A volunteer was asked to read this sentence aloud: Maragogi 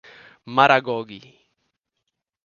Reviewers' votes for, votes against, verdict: 1, 2, rejected